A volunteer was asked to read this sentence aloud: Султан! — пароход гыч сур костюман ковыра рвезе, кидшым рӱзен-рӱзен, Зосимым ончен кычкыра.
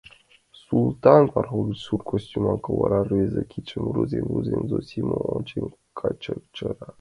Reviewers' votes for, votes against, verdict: 0, 2, rejected